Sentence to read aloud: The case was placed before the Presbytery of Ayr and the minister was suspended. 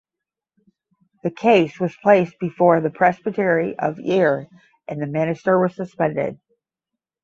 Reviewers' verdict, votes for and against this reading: accepted, 10, 0